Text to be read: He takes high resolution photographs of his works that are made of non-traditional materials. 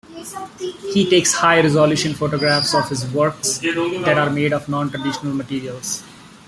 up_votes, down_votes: 1, 2